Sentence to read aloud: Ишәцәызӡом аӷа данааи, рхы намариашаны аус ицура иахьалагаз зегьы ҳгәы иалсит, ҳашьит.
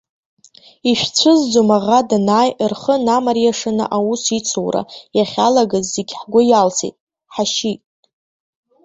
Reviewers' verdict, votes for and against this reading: accepted, 2, 0